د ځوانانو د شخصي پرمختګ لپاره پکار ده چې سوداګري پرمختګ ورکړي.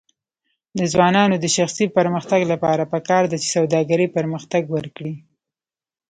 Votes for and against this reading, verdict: 1, 2, rejected